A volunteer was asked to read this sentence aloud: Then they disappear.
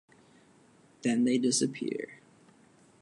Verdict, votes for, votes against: accepted, 2, 0